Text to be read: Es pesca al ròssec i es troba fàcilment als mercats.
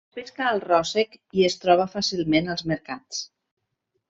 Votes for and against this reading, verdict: 2, 0, accepted